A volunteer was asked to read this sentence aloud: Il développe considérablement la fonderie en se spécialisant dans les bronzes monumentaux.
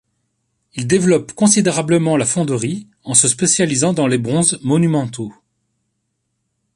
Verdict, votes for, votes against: accepted, 2, 0